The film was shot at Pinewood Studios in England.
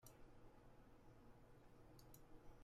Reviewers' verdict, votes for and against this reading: rejected, 0, 2